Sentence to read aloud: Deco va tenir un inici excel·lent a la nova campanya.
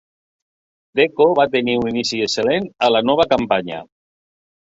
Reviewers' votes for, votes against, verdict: 1, 2, rejected